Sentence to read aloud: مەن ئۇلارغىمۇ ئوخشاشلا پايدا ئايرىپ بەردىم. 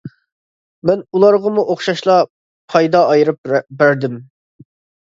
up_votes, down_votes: 2, 1